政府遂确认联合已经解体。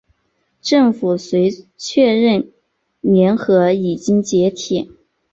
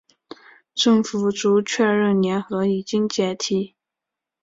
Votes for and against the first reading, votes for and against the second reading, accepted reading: 3, 0, 0, 2, first